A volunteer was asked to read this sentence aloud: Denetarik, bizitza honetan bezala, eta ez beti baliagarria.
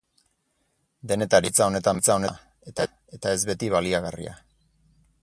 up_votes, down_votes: 0, 2